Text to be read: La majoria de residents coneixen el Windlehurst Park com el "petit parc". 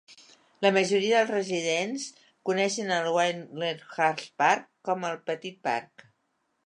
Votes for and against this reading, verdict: 1, 2, rejected